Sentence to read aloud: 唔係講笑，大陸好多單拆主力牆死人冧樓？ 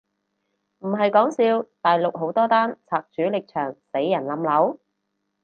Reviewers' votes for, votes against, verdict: 4, 0, accepted